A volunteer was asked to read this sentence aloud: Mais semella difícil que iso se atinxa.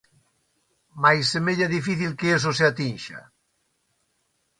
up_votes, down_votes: 2, 1